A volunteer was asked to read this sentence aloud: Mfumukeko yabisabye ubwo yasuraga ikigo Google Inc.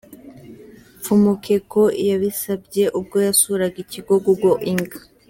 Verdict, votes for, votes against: accepted, 2, 0